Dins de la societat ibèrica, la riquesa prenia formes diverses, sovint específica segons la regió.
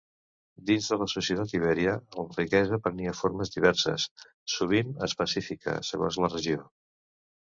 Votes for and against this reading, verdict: 0, 2, rejected